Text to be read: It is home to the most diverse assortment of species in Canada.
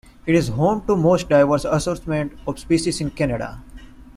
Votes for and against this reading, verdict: 1, 2, rejected